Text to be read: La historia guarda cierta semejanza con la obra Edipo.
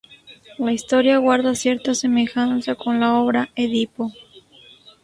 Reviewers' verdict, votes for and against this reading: rejected, 0, 2